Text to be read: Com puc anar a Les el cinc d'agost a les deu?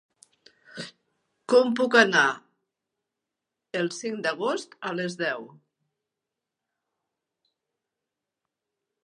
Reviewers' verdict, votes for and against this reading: rejected, 1, 2